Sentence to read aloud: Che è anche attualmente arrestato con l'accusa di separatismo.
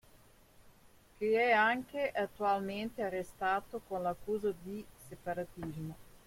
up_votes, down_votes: 0, 2